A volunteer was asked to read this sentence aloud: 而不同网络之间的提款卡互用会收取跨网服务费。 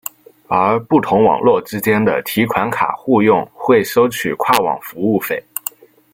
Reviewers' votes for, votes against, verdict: 1, 2, rejected